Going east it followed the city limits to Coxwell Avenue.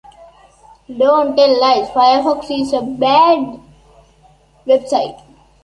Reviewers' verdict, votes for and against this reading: rejected, 0, 4